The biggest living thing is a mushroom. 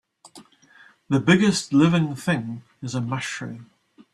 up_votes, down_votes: 2, 0